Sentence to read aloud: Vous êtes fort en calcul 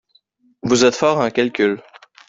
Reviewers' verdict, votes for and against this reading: rejected, 1, 2